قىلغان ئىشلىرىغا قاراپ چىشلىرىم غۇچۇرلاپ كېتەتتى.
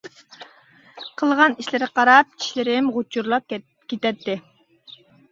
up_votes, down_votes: 0, 2